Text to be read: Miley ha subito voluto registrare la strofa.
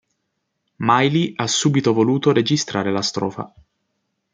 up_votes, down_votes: 2, 0